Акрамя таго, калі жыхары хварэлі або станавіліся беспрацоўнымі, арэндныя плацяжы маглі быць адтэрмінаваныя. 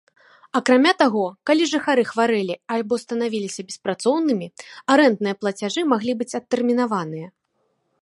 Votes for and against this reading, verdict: 0, 2, rejected